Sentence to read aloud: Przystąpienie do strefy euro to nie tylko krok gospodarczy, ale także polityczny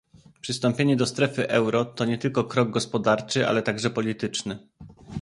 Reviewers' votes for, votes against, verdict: 2, 0, accepted